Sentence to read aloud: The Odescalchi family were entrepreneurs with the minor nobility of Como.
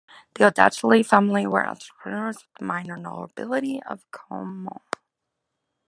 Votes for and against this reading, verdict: 2, 0, accepted